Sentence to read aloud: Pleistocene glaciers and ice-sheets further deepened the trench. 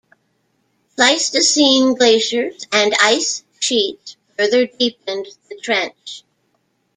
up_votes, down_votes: 2, 0